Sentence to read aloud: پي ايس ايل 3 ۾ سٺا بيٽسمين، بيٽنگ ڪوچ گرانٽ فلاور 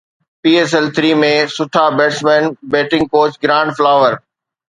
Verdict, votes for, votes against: rejected, 0, 2